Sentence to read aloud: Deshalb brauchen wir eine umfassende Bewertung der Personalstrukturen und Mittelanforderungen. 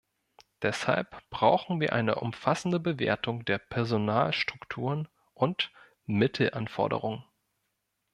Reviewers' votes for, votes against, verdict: 0, 2, rejected